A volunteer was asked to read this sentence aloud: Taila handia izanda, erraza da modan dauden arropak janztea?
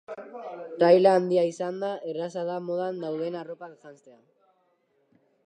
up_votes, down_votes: 0, 2